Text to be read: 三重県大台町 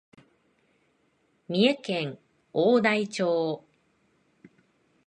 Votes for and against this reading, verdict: 2, 0, accepted